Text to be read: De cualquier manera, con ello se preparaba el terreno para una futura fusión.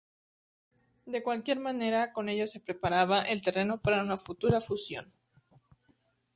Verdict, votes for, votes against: accepted, 4, 0